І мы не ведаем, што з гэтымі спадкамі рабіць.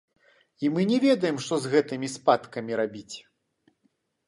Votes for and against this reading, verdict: 2, 0, accepted